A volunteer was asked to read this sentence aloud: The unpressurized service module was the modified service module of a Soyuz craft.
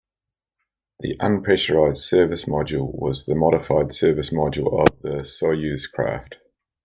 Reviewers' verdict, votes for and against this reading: accepted, 2, 0